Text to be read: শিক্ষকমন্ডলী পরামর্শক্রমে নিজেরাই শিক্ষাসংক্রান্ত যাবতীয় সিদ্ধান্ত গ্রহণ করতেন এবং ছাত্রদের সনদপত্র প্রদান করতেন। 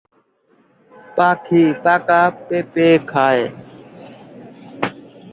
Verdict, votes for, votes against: rejected, 1, 2